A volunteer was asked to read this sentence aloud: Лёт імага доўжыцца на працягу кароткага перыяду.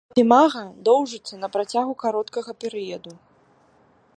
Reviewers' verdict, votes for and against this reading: rejected, 1, 2